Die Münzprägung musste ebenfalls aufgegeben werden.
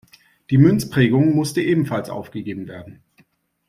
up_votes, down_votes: 2, 0